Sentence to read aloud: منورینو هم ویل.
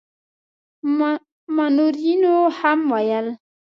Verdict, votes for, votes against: rejected, 0, 2